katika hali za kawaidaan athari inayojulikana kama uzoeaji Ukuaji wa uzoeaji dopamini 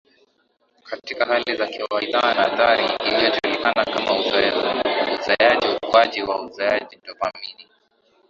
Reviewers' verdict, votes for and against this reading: rejected, 0, 2